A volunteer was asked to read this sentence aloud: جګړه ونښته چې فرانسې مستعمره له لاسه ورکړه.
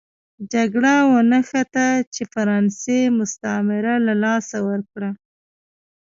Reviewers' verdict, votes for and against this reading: accepted, 2, 0